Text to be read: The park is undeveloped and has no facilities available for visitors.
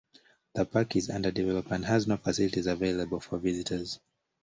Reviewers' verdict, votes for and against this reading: rejected, 1, 2